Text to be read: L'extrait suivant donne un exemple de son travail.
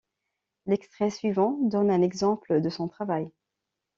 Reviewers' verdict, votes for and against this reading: accepted, 2, 0